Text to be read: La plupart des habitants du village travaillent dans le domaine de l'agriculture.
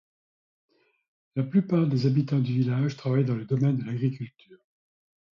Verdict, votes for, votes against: accepted, 2, 0